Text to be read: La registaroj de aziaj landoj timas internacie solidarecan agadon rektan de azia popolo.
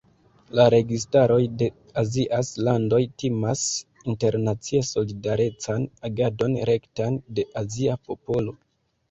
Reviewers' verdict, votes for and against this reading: rejected, 1, 2